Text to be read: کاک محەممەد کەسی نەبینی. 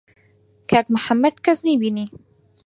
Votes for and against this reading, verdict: 2, 4, rejected